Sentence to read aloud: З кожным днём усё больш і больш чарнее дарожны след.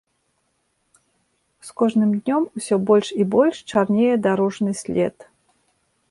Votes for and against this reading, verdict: 3, 0, accepted